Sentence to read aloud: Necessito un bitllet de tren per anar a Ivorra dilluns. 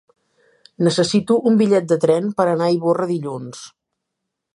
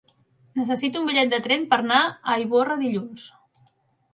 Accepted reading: first